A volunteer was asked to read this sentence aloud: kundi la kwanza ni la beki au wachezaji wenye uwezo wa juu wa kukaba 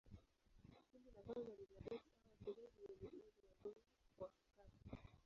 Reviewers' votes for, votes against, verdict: 1, 5, rejected